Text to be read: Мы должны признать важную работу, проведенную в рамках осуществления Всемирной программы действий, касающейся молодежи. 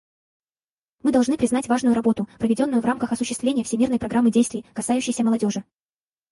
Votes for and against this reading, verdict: 2, 4, rejected